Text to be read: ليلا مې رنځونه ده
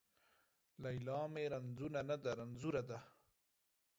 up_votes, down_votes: 1, 2